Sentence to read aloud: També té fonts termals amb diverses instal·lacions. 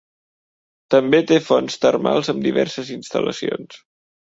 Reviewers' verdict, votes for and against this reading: accepted, 2, 0